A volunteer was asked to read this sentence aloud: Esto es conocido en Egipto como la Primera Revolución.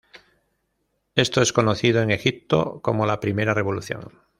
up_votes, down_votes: 2, 0